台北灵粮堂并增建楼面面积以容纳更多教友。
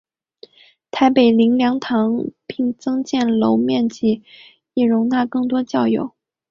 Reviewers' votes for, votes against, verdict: 2, 1, accepted